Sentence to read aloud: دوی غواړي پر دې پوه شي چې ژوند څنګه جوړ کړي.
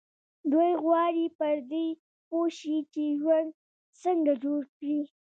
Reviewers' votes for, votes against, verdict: 2, 1, accepted